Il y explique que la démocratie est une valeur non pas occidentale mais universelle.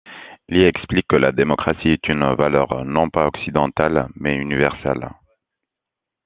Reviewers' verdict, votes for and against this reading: accepted, 2, 0